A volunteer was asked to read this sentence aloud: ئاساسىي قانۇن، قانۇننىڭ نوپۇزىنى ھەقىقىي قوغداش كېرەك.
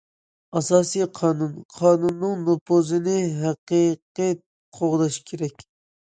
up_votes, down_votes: 2, 0